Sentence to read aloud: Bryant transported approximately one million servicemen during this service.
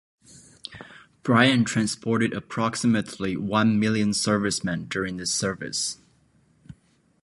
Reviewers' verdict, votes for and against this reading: accepted, 2, 0